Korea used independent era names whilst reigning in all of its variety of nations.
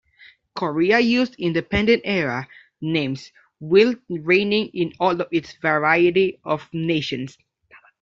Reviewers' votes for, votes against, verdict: 0, 2, rejected